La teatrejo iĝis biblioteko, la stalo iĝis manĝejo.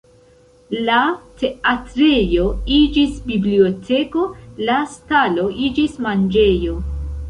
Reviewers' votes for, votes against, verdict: 2, 0, accepted